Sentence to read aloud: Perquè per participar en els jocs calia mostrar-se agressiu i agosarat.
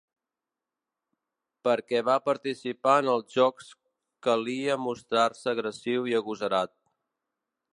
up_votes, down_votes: 0, 2